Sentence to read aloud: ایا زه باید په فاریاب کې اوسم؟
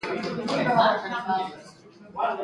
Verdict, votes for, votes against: accepted, 2, 0